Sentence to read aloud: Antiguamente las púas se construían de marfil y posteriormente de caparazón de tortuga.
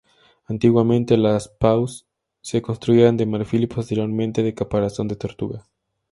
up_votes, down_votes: 2, 0